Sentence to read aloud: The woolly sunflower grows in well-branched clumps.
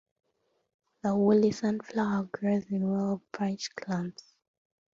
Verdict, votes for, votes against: rejected, 0, 2